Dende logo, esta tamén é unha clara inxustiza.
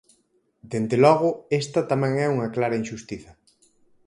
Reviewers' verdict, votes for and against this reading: accepted, 4, 0